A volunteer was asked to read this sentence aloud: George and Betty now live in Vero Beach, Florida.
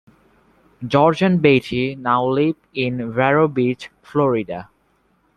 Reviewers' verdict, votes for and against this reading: accepted, 2, 0